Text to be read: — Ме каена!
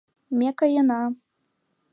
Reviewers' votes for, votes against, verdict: 2, 0, accepted